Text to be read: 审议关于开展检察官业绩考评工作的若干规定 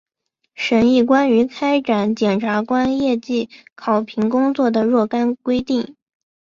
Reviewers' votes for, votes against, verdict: 5, 1, accepted